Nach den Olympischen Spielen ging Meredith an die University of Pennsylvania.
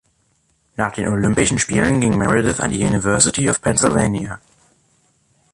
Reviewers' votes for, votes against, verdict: 3, 0, accepted